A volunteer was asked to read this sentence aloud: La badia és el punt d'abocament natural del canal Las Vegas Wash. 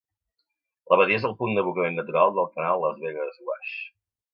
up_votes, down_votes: 2, 0